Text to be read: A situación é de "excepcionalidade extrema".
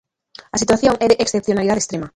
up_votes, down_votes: 1, 2